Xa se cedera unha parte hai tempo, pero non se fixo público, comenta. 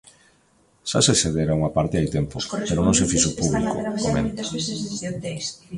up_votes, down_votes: 0, 2